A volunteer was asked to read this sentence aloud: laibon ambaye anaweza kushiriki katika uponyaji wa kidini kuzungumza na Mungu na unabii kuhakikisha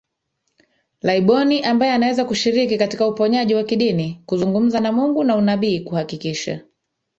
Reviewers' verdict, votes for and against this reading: accepted, 8, 0